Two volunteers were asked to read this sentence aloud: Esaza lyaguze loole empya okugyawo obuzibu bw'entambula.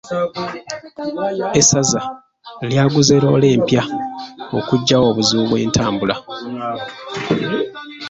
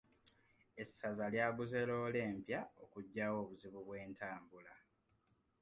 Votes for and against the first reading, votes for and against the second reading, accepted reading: 0, 2, 2, 0, second